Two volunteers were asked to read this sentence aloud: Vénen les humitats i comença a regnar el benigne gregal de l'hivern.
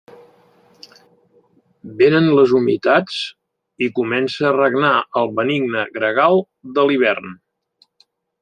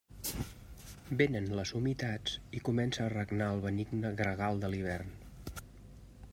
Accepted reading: second